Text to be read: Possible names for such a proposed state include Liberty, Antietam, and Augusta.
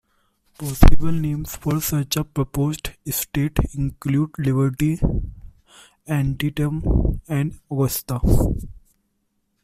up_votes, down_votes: 0, 2